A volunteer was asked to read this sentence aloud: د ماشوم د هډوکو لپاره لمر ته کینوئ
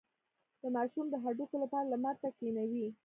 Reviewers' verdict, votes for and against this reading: accepted, 2, 0